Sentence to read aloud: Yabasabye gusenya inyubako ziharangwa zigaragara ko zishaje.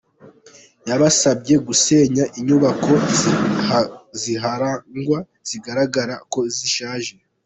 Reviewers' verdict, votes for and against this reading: rejected, 1, 2